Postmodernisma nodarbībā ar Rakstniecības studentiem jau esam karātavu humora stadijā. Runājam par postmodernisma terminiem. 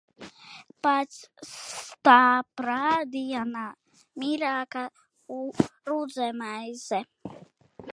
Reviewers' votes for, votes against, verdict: 0, 2, rejected